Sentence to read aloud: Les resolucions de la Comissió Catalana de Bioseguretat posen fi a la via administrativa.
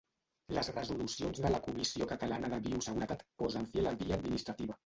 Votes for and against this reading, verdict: 1, 2, rejected